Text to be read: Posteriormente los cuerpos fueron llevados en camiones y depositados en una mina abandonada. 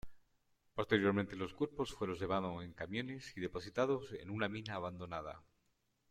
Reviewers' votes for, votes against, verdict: 1, 2, rejected